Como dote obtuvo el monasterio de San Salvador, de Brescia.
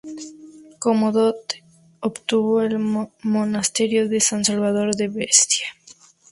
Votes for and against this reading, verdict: 0, 2, rejected